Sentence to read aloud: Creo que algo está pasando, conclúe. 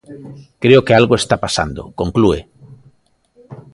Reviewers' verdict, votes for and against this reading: rejected, 0, 2